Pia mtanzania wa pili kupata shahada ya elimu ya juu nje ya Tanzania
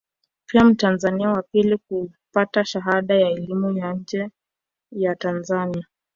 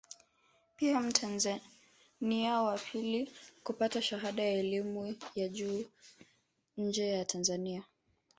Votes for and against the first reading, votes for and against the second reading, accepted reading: 0, 2, 2, 0, second